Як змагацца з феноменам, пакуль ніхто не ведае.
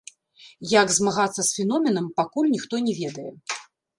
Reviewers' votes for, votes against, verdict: 0, 2, rejected